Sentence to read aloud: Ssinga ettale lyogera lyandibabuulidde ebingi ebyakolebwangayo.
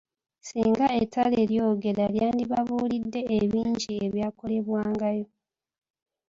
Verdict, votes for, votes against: accepted, 2, 0